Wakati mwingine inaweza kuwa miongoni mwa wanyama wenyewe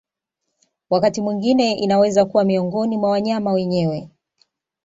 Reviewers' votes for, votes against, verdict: 0, 2, rejected